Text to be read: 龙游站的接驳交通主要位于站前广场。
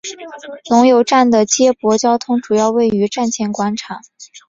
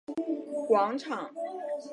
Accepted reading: first